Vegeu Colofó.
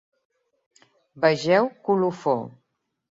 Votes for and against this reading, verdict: 2, 0, accepted